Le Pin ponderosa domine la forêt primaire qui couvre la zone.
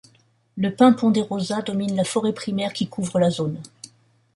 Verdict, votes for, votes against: accepted, 2, 0